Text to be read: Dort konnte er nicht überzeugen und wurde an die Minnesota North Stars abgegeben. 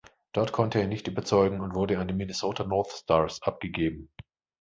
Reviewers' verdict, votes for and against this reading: accepted, 2, 0